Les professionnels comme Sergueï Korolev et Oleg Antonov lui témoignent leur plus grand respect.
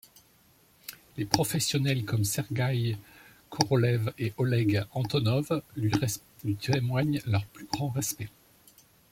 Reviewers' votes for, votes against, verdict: 0, 2, rejected